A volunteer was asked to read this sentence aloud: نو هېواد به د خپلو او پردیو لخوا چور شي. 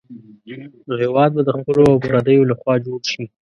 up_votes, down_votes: 1, 2